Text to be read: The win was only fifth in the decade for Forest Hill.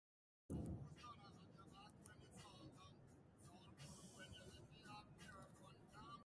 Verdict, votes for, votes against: rejected, 0, 2